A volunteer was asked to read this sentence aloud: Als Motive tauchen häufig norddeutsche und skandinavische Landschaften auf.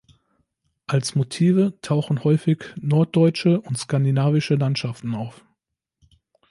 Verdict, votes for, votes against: accepted, 2, 0